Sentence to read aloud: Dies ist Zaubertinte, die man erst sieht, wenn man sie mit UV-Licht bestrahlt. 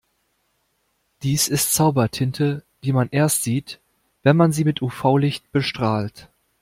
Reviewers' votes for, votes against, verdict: 2, 0, accepted